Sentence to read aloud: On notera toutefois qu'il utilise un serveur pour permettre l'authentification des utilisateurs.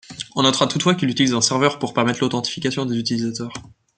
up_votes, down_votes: 3, 0